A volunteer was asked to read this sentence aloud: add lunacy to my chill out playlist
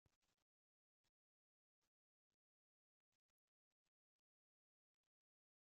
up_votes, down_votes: 0, 2